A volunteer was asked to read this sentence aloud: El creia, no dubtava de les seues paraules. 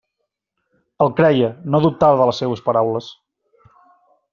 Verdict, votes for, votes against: accepted, 4, 0